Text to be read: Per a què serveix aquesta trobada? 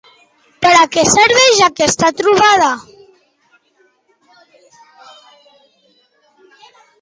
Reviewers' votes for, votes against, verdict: 2, 0, accepted